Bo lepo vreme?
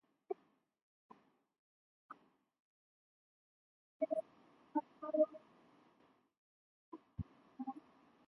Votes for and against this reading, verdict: 0, 2, rejected